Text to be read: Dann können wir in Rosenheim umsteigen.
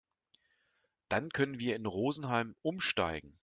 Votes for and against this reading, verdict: 2, 0, accepted